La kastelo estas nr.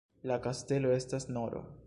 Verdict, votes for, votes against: accepted, 2, 0